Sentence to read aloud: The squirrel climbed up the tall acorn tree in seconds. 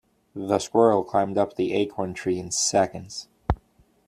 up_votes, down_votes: 1, 2